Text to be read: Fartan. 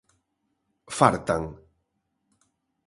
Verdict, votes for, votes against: accepted, 2, 0